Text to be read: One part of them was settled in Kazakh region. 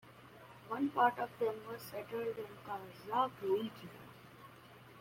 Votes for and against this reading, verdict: 2, 0, accepted